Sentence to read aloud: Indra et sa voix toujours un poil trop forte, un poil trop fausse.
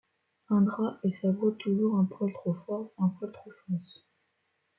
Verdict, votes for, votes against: accepted, 2, 0